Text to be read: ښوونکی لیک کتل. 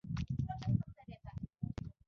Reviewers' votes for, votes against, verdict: 2, 0, accepted